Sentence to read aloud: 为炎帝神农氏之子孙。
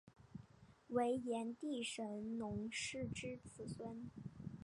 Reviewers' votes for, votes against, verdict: 3, 1, accepted